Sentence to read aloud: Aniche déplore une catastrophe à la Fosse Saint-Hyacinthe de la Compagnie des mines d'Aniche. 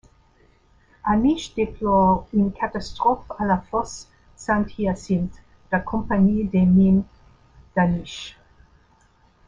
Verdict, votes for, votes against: accepted, 2, 1